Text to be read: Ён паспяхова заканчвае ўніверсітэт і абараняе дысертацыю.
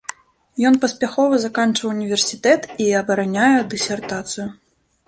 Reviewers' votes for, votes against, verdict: 1, 2, rejected